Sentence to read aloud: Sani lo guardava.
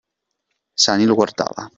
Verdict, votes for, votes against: accepted, 2, 0